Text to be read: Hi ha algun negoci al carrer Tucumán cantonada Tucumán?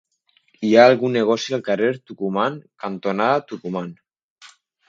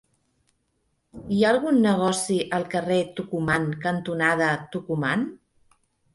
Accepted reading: second